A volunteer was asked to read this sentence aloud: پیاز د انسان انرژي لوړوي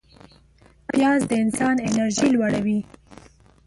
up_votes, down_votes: 1, 2